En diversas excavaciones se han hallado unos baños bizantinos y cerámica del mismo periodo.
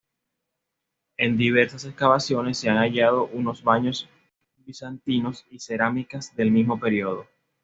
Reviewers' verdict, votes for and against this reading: accepted, 2, 0